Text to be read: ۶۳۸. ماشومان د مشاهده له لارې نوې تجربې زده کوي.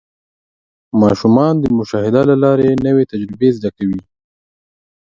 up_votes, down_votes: 0, 2